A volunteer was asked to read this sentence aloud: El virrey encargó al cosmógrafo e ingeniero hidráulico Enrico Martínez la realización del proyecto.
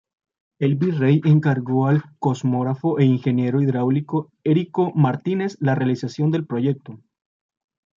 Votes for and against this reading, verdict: 1, 2, rejected